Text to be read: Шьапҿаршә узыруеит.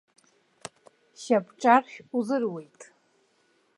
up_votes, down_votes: 2, 0